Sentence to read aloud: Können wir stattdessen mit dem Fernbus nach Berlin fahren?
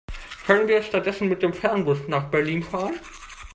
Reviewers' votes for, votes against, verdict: 0, 2, rejected